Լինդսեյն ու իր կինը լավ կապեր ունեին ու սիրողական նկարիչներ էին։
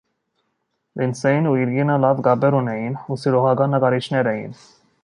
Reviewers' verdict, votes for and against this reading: accepted, 3, 0